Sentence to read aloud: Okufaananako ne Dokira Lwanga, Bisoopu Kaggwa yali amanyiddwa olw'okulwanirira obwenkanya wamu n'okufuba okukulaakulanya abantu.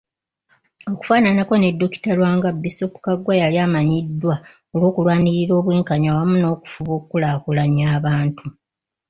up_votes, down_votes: 0, 2